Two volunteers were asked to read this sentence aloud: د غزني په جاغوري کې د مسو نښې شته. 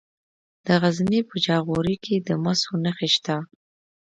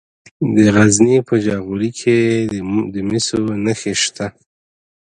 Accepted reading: first